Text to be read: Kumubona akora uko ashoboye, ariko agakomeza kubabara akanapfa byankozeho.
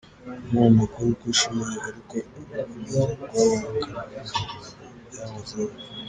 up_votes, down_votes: 0, 3